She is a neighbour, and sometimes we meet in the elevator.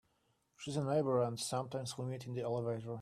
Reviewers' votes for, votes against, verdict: 1, 2, rejected